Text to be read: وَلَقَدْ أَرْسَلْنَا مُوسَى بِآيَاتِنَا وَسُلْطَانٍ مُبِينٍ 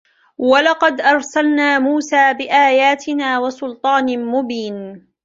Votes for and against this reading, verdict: 2, 0, accepted